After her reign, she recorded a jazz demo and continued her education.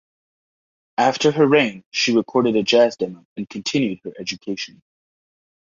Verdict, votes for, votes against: accepted, 2, 0